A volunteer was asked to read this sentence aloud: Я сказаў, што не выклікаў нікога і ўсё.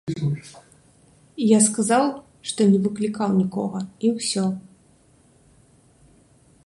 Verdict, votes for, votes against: accepted, 2, 0